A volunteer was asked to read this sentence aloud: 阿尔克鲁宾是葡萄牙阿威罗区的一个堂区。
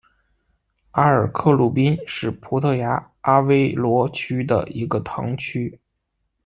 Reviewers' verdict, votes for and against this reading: accepted, 2, 0